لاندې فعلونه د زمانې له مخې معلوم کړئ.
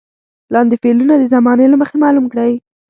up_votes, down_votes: 2, 0